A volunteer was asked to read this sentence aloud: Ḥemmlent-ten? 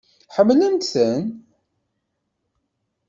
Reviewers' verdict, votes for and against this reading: accepted, 2, 0